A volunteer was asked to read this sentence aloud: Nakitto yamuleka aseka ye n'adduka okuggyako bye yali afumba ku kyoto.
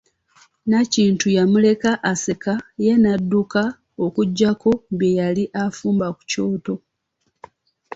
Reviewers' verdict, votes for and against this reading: accepted, 2, 0